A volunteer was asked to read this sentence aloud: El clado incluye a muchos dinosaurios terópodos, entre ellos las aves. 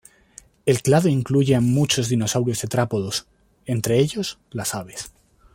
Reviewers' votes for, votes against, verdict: 0, 2, rejected